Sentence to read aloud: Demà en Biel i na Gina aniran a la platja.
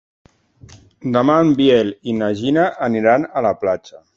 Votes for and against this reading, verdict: 2, 0, accepted